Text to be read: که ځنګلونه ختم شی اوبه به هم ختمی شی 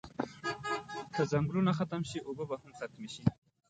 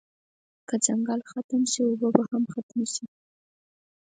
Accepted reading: second